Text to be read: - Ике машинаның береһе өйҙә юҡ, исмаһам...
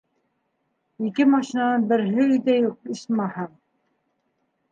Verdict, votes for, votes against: accepted, 2, 1